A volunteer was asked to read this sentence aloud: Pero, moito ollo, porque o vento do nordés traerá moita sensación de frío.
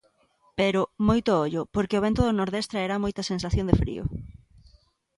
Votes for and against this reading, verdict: 2, 0, accepted